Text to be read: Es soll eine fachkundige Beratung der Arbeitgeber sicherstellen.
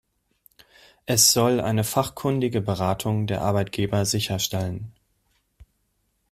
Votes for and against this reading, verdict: 2, 0, accepted